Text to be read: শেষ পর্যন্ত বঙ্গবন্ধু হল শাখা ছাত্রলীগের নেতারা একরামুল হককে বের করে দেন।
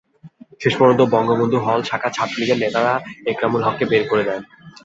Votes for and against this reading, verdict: 2, 0, accepted